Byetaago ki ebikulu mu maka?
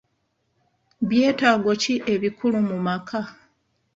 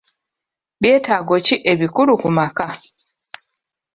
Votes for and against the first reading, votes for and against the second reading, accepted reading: 2, 0, 1, 2, first